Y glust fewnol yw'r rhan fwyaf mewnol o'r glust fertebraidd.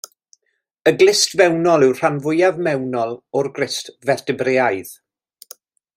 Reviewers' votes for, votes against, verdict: 2, 0, accepted